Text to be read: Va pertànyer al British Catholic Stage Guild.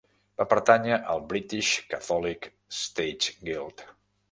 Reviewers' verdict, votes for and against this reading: accepted, 2, 0